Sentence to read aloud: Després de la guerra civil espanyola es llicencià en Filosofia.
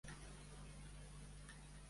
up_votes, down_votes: 1, 2